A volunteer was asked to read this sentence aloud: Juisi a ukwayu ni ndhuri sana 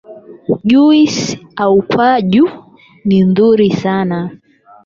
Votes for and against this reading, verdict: 4, 8, rejected